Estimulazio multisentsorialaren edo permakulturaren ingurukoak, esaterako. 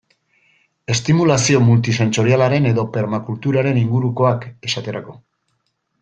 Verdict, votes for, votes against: accepted, 2, 0